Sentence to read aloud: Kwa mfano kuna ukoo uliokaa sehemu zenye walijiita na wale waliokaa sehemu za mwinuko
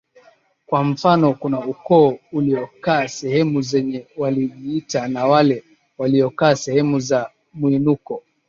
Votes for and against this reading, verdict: 4, 0, accepted